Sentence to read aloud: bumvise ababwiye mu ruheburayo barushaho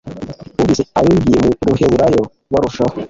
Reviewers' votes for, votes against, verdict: 3, 0, accepted